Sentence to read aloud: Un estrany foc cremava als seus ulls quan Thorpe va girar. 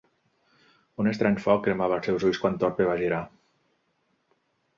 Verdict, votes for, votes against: accepted, 3, 0